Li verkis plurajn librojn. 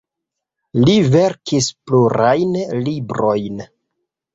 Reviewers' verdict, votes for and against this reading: accepted, 3, 0